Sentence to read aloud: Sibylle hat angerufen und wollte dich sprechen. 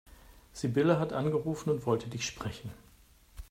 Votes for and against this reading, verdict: 2, 0, accepted